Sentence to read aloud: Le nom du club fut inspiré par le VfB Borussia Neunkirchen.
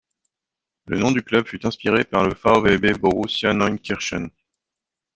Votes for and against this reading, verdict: 0, 2, rejected